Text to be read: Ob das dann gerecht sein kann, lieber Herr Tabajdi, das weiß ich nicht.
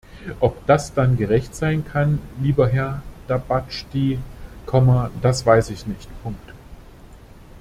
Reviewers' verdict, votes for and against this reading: rejected, 0, 2